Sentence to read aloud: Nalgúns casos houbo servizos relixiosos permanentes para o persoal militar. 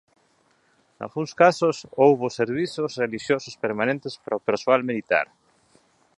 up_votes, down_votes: 2, 0